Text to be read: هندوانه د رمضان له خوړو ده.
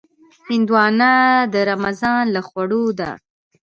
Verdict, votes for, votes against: accepted, 2, 0